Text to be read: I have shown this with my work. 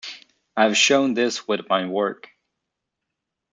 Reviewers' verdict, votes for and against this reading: accepted, 2, 1